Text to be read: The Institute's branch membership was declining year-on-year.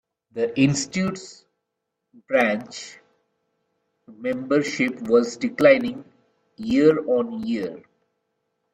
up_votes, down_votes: 2, 0